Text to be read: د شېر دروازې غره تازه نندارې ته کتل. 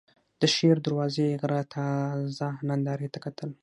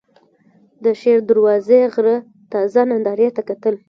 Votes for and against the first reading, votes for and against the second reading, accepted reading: 6, 0, 0, 2, first